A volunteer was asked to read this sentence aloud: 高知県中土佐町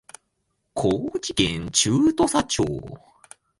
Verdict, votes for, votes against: accepted, 2, 0